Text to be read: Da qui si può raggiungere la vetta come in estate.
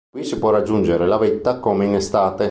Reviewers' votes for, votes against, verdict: 2, 0, accepted